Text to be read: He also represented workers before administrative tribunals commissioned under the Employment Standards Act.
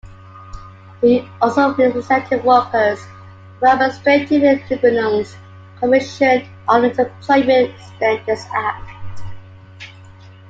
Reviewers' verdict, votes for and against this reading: rejected, 1, 2